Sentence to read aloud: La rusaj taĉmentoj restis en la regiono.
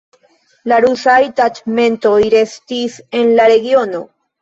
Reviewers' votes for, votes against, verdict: 1, 2, rejected